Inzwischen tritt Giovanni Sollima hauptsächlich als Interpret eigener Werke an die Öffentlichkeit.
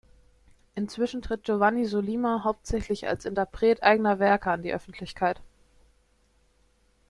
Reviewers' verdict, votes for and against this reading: accepted, 2, 1